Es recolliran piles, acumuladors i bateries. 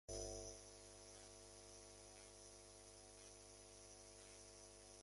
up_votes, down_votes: 0, 3